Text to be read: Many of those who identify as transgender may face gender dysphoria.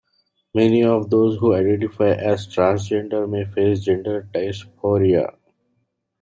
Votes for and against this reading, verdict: 2, 0, accepted